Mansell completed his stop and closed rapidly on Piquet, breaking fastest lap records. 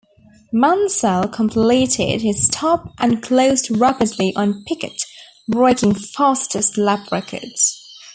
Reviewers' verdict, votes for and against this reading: accepted, 2, 1